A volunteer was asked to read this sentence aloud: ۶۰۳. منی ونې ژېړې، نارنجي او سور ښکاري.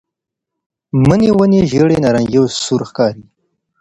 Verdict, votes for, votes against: rejected, 0, 2